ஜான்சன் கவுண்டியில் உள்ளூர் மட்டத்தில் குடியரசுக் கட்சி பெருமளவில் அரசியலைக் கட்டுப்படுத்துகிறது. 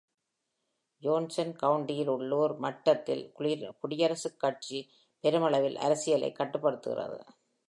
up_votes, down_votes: 0, 2